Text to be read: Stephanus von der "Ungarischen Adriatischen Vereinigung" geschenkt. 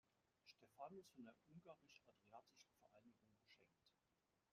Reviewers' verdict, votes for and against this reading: rejected, 0, 3